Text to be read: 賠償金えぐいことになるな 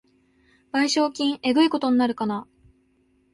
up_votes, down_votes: 0, 2